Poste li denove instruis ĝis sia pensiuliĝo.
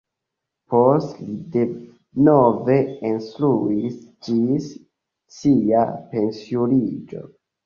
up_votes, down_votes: 1, 2